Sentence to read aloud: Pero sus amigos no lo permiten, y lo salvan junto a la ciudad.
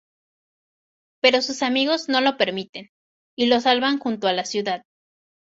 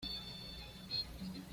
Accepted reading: first